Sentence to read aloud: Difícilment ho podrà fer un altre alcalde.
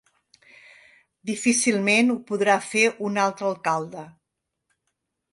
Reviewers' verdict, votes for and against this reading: accepted, 3, 0